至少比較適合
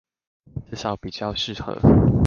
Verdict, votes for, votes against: rejected, 1, 2